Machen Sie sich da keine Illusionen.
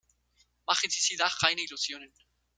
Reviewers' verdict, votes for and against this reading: accepted, 2, 1